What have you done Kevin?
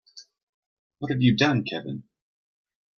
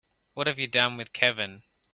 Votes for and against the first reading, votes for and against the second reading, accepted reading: 2, 0, 0, 2, first